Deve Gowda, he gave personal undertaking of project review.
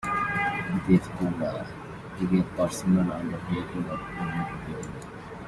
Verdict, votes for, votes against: rejected, 1, 2